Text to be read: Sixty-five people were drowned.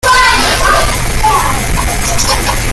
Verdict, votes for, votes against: rejected, 0, 2